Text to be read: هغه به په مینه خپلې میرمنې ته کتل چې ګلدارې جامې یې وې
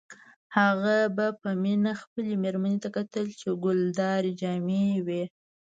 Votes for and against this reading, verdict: 2, 0, accepted